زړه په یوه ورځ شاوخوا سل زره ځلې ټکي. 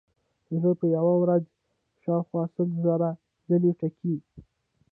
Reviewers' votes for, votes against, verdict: 1, 2, rejected